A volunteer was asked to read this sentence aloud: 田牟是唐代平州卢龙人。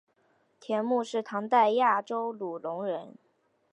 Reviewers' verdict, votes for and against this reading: rejected, 0, 2